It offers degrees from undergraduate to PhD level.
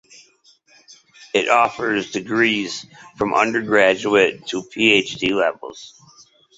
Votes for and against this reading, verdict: 2, 0, accepted